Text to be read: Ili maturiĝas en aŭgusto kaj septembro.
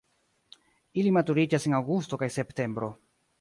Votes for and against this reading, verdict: 2, 0, accepted